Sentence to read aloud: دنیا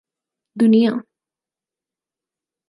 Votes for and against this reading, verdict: 4, 0, accepted